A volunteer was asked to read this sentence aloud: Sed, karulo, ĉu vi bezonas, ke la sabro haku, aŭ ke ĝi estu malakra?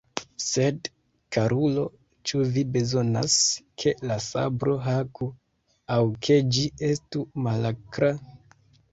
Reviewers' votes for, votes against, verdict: 2, 1, accepted